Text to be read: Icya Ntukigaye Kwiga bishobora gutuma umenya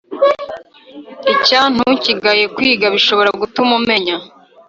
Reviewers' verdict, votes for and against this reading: rejected, 1, 2